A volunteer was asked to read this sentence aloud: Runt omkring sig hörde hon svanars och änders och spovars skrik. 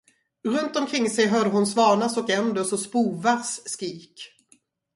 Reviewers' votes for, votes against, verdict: 2, 2, rejected